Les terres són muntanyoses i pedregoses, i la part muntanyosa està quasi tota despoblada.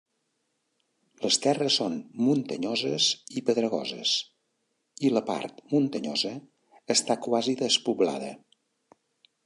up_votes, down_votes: 1, 2